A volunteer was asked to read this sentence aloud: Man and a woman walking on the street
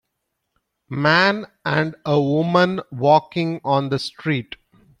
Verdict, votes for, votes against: accepted, 2, 0